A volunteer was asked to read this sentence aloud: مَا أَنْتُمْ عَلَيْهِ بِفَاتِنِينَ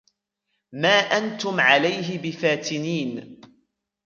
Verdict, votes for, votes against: rejected, 1, 2